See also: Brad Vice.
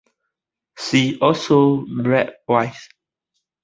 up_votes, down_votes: 2, 1